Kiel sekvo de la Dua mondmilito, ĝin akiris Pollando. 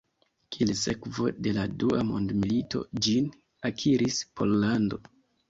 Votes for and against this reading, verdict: 2, 0, accepted